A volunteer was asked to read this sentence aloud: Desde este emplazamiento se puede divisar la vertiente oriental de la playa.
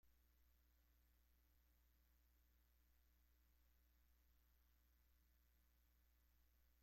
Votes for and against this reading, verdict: 0, 2, rejected